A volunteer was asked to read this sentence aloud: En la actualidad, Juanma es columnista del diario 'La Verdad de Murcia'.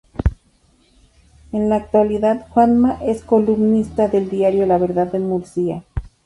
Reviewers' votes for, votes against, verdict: 2, 0, accepted